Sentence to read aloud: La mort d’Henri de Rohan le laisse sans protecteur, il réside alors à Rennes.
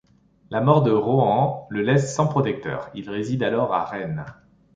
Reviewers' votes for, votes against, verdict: 1, 2, rejected